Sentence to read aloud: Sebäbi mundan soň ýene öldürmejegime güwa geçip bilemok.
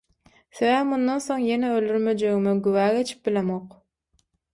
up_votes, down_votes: 6, 0